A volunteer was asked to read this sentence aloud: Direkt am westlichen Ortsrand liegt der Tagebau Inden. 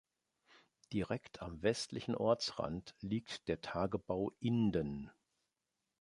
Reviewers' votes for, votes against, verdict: 2, 0, accepted